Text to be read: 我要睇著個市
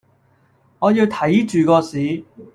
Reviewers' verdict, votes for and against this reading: accepted, 2, 1